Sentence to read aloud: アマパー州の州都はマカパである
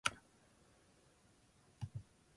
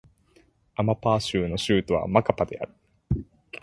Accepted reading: second